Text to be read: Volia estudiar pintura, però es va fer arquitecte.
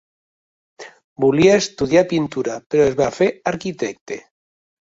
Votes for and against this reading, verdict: 1, 2, rejected